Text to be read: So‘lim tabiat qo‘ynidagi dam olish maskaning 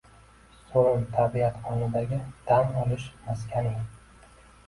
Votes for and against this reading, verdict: 0, 2, rejected